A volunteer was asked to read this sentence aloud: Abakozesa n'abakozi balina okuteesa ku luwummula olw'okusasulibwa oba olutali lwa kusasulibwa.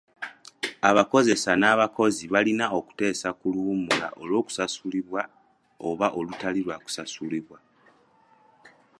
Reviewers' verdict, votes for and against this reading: accepted, 2, 0